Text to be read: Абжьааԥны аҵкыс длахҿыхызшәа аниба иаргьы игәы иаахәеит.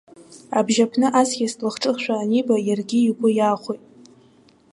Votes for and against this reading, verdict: 2, 0, accepted